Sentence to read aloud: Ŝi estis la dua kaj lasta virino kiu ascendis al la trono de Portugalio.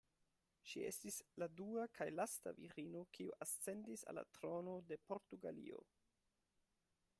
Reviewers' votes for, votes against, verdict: 2, 0, accepted